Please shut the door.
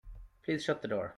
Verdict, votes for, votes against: accepted, 2, 1